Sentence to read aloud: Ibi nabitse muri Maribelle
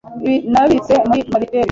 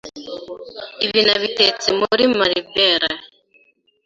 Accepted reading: second